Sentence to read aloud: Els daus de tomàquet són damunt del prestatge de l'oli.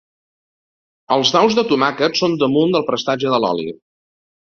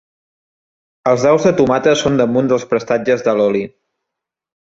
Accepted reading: first